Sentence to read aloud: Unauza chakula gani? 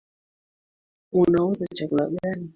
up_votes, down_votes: 2, 1